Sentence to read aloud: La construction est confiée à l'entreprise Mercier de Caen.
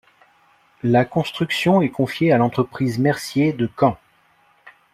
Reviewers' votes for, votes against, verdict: 2, 0, accepted